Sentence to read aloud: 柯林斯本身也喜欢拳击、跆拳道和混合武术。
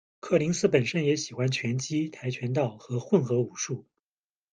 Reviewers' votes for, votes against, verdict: 2, 0, accepted